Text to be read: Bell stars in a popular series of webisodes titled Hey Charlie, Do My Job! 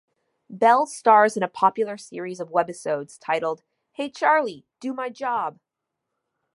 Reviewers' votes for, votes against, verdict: 2, 0, accepted